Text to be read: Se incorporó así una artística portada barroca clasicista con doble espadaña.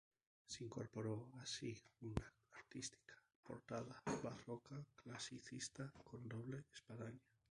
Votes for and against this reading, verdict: 0, 2, rejected